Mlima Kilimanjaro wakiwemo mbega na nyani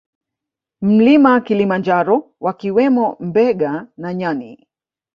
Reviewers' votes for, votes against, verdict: 2, 1, accepted